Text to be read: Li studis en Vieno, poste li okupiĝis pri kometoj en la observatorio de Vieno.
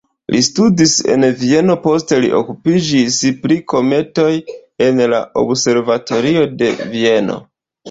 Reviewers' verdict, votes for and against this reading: rejected, 1, 2